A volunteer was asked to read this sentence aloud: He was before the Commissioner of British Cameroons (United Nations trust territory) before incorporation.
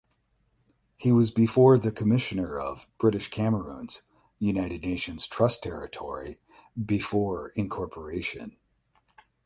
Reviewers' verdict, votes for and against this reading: accepted, 8, 0